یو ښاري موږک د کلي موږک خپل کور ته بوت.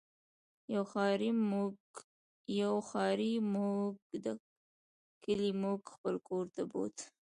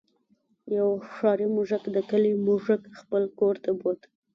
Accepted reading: second